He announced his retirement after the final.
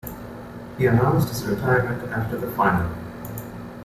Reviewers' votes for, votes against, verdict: 2, 1, accepted